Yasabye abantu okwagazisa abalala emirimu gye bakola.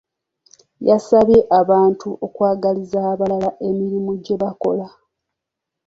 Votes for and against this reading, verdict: 1, 2, rejected